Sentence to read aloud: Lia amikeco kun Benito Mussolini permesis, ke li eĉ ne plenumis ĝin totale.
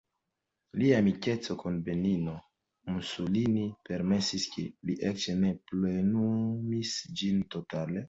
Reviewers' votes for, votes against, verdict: 2, 0, accepted